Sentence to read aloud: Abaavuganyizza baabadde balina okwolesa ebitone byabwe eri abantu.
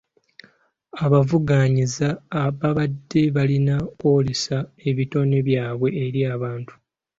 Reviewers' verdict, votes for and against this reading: rejected, 0, 2